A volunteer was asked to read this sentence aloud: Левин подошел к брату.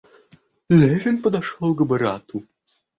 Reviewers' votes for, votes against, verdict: 1, 2, rejected